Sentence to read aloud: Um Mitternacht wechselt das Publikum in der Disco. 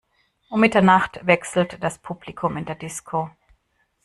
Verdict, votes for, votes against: accepted, 2, 0